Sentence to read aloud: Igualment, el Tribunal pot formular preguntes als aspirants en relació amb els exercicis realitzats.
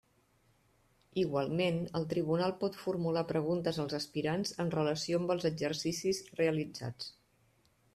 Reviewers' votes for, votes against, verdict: 3, 0, accepted